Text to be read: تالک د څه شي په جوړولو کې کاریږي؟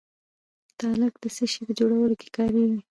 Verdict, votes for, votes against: accepted, 2, 0